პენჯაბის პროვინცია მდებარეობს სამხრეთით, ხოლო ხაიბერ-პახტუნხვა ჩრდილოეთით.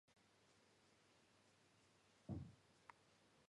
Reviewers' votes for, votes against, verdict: 0, 2, rejected